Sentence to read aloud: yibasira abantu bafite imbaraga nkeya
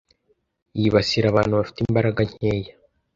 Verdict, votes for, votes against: accepted, 2, 0